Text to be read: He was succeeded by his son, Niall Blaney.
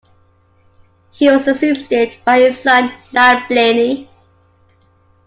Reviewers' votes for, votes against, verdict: 2, 1, accepted